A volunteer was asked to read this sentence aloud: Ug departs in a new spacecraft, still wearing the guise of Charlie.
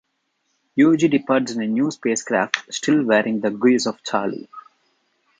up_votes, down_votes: 0, 2